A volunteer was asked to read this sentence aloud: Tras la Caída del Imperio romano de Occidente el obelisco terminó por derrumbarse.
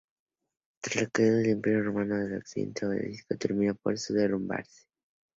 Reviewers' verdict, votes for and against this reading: rejected, 0, 2